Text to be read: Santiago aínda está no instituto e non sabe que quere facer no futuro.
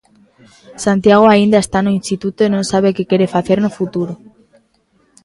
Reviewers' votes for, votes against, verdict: 2, 0, accepted